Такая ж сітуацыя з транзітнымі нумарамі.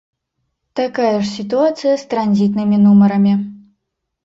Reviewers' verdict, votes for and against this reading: rejected, 1, 2